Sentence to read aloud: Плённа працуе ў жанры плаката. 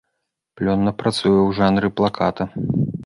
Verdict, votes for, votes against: accepted, 2, 0